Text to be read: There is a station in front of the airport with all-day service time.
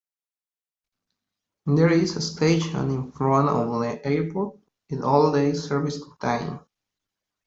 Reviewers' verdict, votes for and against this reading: rejected, 1, 2